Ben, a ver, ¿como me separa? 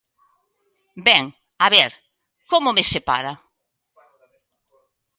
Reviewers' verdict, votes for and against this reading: accepted, 2, 0